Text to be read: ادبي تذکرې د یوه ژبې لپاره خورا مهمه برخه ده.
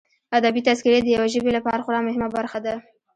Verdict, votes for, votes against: rejected, 0, 2